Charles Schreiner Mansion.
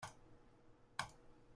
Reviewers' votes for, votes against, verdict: 0, 2, rejected